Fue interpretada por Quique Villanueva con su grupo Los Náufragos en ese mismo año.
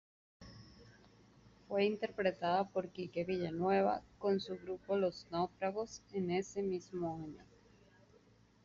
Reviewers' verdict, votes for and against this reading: rejected, 1, 2